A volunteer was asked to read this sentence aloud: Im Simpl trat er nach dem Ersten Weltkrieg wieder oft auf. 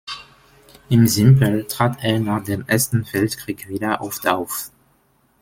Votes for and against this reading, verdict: 2, 1, accepted